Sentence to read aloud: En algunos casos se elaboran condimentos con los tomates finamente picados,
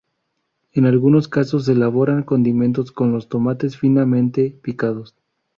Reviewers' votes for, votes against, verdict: 2, 0, accepted